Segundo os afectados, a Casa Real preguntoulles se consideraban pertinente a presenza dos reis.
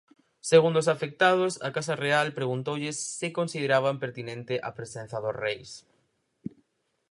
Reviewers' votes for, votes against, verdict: 4, 0, accepted